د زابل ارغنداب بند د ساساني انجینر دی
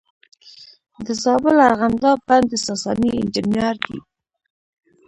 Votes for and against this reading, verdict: 0, 2, rejected